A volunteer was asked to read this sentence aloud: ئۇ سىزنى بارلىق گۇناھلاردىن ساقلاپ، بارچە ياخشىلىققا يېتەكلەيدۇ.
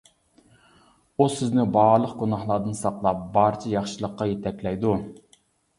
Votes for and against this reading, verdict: 2, 0, accepted